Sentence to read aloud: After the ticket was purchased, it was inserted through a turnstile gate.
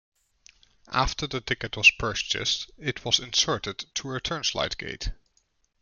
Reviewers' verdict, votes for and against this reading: rejected, 0, 2